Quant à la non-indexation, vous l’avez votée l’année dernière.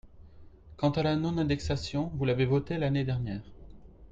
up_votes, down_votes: 2, 0